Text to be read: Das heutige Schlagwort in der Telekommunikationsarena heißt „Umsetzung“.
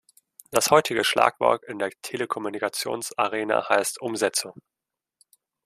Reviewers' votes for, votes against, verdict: 2, 0, accepted